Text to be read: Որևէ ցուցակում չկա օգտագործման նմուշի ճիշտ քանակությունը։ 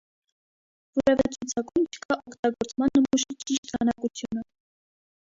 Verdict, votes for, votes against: rejected, 1, 2